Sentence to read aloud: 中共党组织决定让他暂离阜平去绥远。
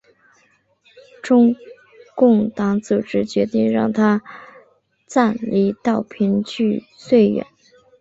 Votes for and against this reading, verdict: 2, 2, rejected